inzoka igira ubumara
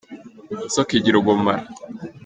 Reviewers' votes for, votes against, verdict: 2, 0, accepted